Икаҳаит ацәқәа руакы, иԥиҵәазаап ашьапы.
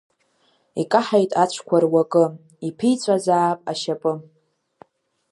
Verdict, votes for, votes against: accepted, 2, 0